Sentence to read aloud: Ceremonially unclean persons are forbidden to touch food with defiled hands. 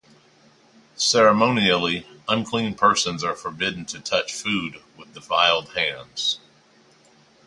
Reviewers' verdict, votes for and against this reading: rejected, 2, 2